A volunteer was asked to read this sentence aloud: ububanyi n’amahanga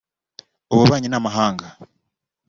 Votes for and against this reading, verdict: 2, 0, accepted